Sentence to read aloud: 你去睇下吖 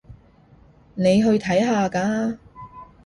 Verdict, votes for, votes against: rejected, 1, 3